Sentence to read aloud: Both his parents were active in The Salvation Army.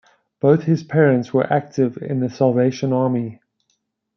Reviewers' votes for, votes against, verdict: 1, 2, rejected